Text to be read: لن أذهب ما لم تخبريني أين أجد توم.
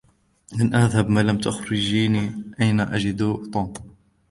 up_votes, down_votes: 1, 2